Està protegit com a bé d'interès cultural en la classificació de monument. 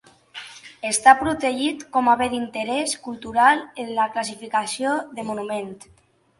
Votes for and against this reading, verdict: 2, 0, accepted